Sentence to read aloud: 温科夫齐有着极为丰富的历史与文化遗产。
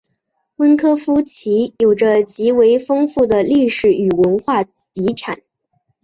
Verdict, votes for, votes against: rejected, 0, 2